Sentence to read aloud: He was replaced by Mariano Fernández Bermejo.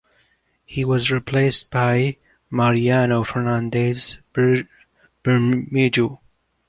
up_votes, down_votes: 0, 2